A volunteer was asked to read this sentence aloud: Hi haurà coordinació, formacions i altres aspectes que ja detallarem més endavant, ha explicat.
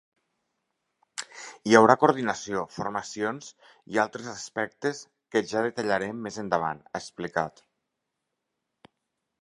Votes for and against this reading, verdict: 4, 0, accepted